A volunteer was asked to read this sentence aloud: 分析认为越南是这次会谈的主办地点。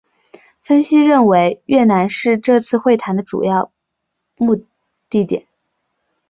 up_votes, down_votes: 2, 3